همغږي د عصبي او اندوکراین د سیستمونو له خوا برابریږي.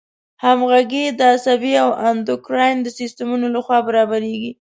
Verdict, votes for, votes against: accepted, 2, 0